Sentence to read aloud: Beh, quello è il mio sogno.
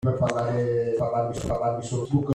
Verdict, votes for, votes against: rejected, 0, 2